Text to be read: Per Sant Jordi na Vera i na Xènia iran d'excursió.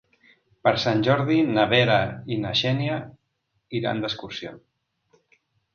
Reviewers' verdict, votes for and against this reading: accepted, 3, 0